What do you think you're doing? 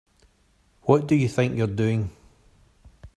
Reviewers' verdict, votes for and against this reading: accepted, 3, 0